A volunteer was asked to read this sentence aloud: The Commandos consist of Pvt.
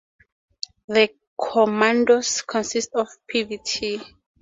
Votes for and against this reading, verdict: 0, 2, rejected